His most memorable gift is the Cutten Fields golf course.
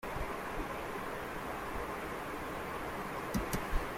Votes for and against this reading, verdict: 0, 2, rejected